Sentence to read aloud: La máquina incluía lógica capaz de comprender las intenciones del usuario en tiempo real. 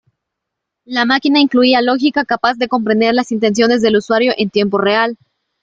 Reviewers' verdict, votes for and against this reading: accepted, 3, 1